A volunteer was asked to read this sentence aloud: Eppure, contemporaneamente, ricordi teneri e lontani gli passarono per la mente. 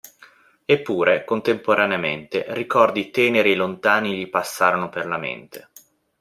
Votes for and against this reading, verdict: 2, 0, accepted